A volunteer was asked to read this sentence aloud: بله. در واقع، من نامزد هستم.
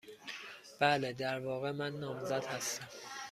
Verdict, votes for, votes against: accepted, 2, 0